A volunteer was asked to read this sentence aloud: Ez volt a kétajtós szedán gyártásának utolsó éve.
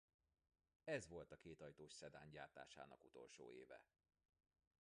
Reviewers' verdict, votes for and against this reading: rejected, 1, 2